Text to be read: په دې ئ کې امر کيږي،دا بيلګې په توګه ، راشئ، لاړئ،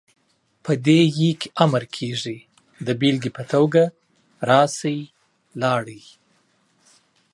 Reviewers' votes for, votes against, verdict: 2, 0, accepted